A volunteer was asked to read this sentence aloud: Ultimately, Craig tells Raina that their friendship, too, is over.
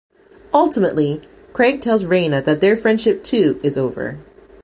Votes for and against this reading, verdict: 2, 0, accepted